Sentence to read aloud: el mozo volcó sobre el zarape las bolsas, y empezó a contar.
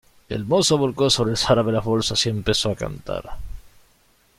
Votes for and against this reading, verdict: 0, 2, rejected